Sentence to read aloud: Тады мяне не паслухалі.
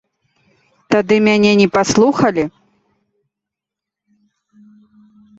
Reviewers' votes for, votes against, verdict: 2, 0, accepted